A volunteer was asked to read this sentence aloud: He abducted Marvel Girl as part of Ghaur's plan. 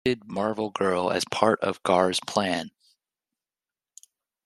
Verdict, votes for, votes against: rejected, 0, 2